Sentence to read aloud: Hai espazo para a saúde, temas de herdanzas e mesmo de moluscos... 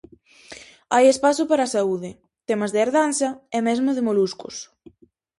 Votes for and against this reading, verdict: 2, 2, rejected